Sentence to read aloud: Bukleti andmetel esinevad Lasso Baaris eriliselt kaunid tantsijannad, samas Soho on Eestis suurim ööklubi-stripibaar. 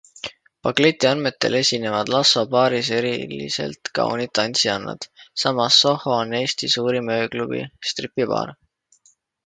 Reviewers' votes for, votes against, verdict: 2, 1, accepted